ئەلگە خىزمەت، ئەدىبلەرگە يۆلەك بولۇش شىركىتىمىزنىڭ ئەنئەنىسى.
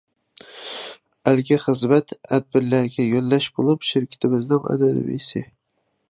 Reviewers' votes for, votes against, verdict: 0, 2, rejected